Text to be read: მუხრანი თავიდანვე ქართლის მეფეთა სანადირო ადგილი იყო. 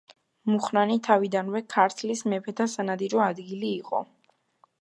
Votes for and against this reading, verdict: 2, 0, accepted